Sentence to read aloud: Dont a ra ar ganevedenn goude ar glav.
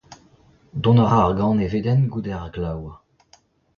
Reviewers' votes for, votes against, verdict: 0, 2, rejected